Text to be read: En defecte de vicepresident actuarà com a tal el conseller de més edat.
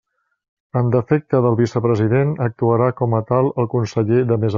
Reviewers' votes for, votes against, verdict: 0, 2, rejected